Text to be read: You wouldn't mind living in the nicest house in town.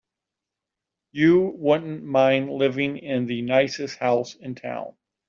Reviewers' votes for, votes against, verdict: 2, 1, accepted